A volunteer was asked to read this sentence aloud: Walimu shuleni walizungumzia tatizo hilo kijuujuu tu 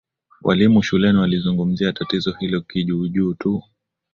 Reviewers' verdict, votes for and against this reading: accepted, 21, 3